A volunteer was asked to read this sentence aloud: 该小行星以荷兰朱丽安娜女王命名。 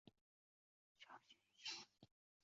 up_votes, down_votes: 0, 2